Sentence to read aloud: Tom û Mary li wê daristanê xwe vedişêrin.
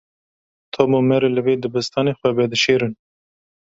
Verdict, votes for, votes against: rejected, 0, 2